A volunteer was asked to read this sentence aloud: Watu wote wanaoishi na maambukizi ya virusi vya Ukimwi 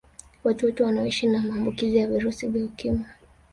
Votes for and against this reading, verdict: 1, 2, rejected